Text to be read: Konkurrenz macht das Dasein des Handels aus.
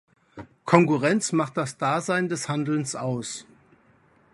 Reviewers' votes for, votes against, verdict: 1, 3, rejected